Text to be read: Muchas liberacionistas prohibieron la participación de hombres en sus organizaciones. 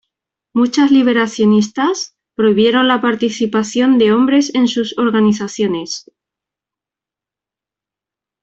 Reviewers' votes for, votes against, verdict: 2, 0, accepted